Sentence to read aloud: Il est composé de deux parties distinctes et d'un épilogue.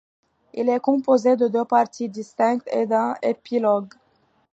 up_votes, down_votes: 0, 2